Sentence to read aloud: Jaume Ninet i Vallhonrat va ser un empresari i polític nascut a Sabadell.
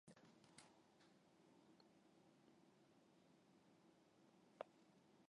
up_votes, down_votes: 0, 3